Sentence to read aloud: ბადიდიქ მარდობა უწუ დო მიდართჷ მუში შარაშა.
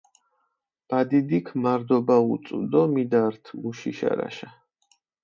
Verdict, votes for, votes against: accepted, 4, 0